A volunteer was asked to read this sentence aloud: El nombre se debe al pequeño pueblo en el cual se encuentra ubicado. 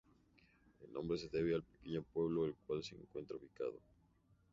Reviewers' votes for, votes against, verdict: 0, 2, rejected